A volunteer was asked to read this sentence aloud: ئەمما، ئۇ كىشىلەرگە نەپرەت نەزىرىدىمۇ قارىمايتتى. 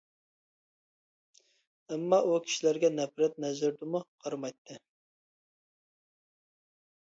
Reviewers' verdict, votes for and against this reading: accepted, 2, 0